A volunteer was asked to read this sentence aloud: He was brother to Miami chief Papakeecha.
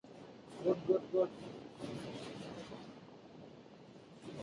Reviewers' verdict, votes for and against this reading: rejected, 0, 2